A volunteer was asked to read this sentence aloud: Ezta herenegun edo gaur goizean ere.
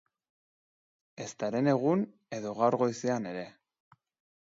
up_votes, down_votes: 2, 0